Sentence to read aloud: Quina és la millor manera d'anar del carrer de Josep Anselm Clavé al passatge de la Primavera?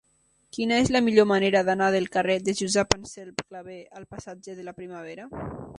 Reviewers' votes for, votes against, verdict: 0, 2, rejected